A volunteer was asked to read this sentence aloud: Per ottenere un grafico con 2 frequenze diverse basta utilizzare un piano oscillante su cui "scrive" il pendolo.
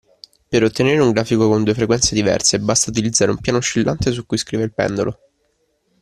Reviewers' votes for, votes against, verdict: 0, 2, rejected